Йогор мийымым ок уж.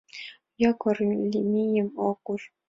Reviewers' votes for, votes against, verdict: 0, 2, rejected